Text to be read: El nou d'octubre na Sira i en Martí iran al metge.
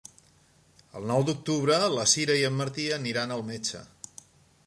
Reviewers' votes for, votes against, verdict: 1, 2, rejected